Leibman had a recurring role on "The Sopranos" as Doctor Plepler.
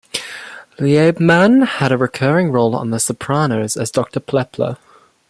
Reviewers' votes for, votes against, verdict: 1, 2, rejected